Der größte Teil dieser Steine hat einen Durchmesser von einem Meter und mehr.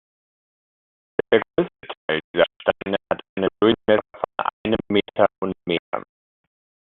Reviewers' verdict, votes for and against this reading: rejected, 0, 2